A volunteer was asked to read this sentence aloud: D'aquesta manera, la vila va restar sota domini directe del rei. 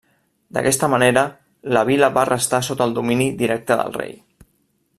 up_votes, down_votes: 2, 0